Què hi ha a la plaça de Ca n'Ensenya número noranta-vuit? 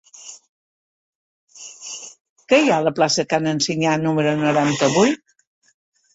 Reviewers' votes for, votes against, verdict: 3, 4, rejected